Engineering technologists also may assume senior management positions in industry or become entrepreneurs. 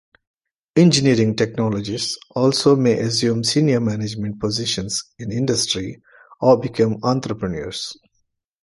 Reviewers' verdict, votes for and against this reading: rejected, 1, 2